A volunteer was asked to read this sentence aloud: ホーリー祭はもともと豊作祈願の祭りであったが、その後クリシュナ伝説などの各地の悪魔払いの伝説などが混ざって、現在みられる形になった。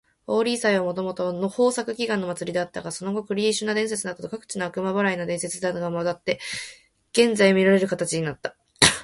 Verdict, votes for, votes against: accepted, 2, 1